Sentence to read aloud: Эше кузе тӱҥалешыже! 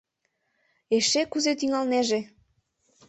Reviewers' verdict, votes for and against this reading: rejected, 1, 2